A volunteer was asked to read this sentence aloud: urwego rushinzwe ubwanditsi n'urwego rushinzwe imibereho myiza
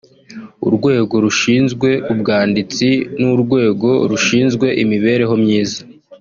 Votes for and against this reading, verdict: 2, 1, accepted